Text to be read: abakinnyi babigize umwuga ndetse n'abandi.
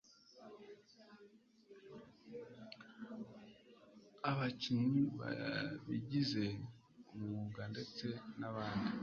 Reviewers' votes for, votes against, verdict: 0, 2, rejected